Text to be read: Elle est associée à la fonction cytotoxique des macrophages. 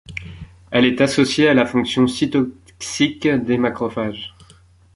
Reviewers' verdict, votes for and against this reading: rejected, 0, 2